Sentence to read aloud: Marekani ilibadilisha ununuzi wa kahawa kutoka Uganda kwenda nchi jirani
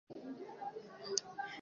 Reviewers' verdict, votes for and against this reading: rejected, 0, 2